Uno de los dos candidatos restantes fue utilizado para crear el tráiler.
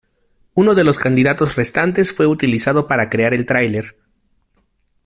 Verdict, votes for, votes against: rejected, 1, 2